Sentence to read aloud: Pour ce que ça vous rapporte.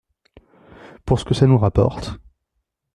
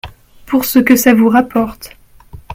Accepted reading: second